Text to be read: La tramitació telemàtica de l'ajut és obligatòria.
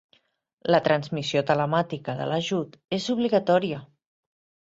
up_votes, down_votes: 1, 4